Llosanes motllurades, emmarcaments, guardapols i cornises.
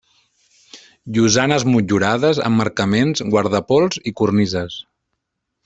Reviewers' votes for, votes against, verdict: 4, 1, accepted